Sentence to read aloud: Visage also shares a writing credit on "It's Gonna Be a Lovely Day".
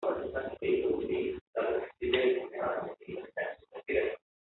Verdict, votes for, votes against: rejected, 0, 3